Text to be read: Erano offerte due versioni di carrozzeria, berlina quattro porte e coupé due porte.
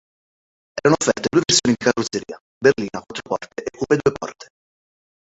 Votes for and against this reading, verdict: 0, 2, rejected